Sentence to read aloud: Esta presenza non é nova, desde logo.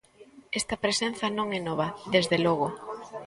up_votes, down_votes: 1, 2